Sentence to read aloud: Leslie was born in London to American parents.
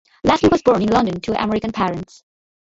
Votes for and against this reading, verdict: 0, 2, rejected